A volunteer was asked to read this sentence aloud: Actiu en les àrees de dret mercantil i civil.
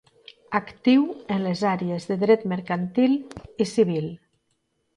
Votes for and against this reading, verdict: 2, 0, accepted